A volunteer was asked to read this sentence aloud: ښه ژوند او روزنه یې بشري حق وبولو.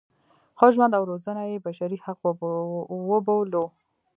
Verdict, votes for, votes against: accepted, 2, 1